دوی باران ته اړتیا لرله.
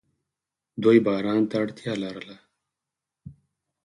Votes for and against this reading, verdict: 4, 0, accepted